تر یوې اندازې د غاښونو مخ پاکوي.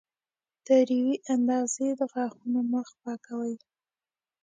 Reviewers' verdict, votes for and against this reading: accepted, 2, 0